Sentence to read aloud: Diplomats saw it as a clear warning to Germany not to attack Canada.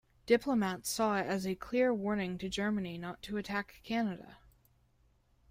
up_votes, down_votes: 2, 0